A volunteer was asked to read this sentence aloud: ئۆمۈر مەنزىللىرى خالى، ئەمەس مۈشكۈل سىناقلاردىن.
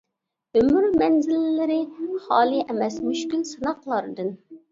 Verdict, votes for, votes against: accepted, 2, 0